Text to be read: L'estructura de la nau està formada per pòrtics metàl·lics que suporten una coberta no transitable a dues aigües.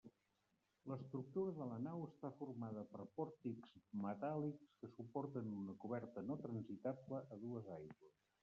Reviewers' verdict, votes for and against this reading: rejected, 0, 2